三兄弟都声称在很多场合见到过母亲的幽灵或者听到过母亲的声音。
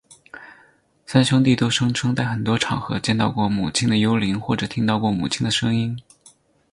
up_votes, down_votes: 4, 0